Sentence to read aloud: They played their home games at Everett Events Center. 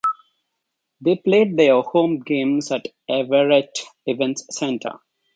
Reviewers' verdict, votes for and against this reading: accepted, 2, 0